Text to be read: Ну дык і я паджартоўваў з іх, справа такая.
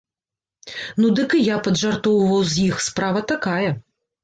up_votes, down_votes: 2, 0